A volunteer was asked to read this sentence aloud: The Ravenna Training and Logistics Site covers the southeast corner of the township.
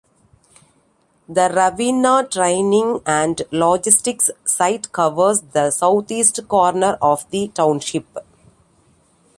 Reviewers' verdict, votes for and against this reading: accepted, 2, 0